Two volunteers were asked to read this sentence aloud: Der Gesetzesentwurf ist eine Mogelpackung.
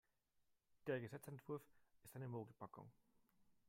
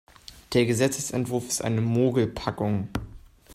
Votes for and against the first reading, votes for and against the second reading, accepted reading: 1, 4, 2, 0, second